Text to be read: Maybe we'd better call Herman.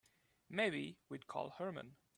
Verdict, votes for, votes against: rejected, 0, 2